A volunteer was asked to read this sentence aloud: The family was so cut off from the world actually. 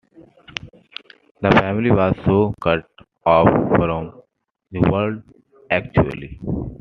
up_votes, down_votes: 0, 2